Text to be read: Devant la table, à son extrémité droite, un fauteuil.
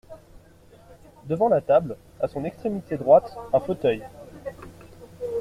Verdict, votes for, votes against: accepted, 2, 0